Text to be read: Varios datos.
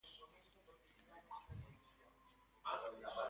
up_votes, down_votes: 0, 2